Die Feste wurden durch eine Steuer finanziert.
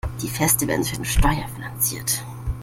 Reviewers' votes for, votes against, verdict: 1, 2, rejected